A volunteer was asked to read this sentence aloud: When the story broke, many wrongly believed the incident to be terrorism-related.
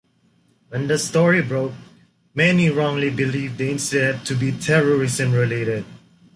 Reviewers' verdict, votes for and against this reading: rejected, 1, 2